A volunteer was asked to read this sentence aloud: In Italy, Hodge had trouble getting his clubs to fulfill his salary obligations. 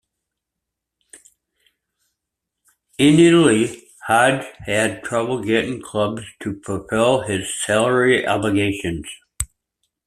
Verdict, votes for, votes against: rejected, 0, 2